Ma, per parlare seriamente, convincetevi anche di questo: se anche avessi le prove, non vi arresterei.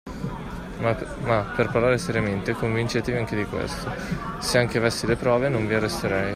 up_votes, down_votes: 1, 2